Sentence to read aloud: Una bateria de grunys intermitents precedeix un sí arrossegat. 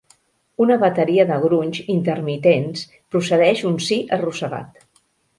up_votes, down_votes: 0, 2